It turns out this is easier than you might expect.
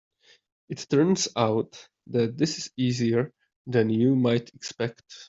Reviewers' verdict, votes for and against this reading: accepted, 2, 1